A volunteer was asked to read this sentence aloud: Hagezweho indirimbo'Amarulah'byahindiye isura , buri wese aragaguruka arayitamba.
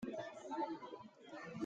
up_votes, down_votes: 0, 2